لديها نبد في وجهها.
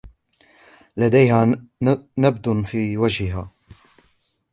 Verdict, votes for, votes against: rejected, 1, 2